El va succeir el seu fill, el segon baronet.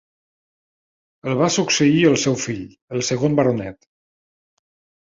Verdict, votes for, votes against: accepted, 3, 0